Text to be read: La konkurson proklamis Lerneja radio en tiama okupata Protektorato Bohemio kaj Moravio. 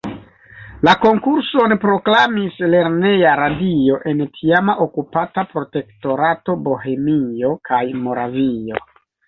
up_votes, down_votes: 2, 0